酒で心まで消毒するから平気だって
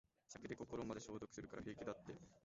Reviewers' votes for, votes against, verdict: 1, 2, rejected